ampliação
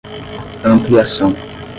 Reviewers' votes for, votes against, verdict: 5, 10, rejected